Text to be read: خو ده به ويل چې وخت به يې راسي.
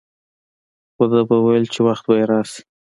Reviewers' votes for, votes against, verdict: 2, 0, accepted